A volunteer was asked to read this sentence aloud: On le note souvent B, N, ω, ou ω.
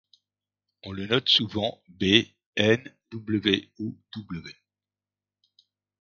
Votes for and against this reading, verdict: 1, 2, rejected